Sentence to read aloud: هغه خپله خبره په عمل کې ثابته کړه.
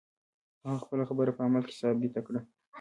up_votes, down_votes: 0, 2